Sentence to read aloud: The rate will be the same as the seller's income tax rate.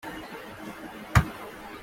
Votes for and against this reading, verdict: 0, 2, rejected